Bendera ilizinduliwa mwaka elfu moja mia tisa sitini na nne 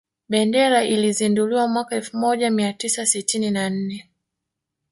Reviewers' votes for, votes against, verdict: 2, 0, accepted